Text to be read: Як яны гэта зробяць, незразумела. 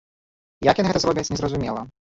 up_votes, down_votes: 1, 2